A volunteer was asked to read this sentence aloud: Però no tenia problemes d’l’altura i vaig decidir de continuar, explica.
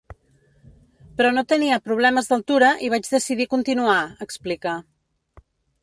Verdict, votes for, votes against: rejected, 1, 2